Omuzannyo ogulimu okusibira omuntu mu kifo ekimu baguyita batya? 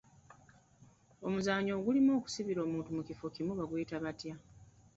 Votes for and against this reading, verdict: 0, 2, rejected